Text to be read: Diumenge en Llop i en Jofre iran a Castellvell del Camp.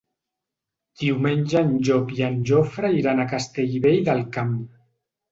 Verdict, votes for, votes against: accepted, 3, 0